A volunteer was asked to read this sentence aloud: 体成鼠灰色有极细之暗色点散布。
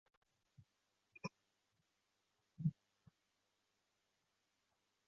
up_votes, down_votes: 2, 0